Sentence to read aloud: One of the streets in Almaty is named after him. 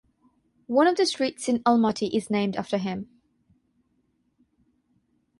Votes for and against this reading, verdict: 3, 0, accepted